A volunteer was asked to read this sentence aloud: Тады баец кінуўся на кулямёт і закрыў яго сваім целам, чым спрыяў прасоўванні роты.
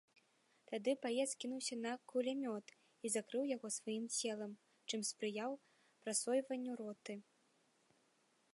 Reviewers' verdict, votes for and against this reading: rejected, 0, 2